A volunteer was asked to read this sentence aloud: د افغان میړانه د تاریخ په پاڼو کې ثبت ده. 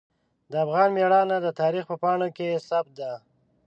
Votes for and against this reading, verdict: 2, 0, accepted